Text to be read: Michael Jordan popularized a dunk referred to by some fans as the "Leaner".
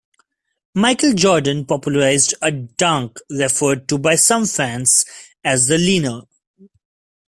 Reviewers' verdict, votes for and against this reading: rejected, 1, 2